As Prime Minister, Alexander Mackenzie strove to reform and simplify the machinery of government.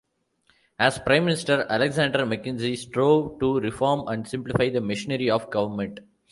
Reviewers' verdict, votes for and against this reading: rejected, 1, 2